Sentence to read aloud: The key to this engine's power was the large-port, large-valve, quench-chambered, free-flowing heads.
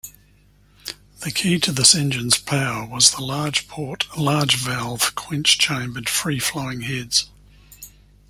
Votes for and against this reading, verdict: 2, 0, accepted